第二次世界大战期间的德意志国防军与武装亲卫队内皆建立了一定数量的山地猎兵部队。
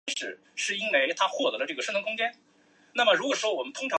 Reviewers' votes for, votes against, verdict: 0, 2, rejected